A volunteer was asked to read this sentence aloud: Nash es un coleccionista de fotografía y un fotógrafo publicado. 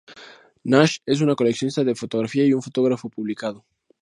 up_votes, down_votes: 2, 0